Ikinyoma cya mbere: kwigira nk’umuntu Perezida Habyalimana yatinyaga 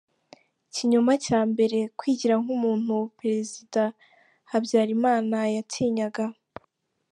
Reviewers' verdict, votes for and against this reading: accepted, 2, 0